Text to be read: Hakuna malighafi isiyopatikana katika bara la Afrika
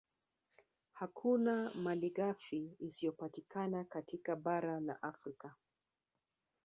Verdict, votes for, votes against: accepted, 2, 1